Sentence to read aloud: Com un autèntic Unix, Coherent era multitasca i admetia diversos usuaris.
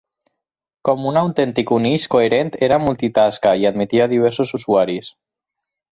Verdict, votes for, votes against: accepted, 6, 0